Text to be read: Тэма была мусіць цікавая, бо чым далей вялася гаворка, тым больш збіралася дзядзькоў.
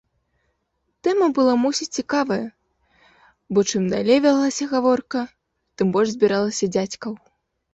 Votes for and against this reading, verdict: 1, 2, rejected